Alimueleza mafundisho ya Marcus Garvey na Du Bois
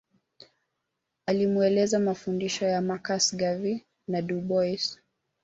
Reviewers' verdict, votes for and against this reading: rejected, 1, 2